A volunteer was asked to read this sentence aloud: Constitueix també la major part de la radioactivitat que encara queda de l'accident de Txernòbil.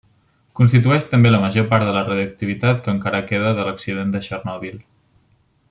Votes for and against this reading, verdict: 2, 1, accepted